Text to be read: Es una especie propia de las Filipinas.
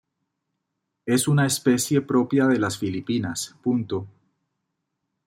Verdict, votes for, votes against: rejected, 1, 2